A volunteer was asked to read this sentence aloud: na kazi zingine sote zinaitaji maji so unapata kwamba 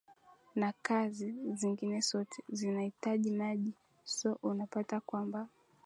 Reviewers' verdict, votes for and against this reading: accepted, 4, 1